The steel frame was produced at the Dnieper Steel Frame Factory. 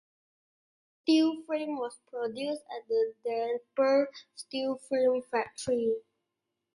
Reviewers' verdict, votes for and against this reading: accepted, 2, 1